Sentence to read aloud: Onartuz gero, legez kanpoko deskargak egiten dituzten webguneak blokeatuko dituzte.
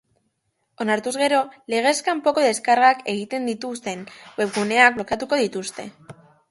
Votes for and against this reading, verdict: 3, 0, accepted